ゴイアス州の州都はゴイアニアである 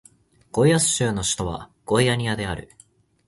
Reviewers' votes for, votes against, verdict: 1, 2, rejected